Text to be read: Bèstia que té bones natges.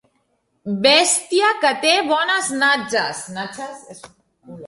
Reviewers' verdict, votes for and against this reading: rejected, 1, 2